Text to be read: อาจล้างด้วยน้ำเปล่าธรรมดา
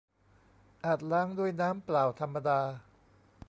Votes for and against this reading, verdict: 1, 2, rejected